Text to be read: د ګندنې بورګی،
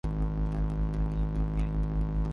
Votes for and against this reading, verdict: 0, 2, rejected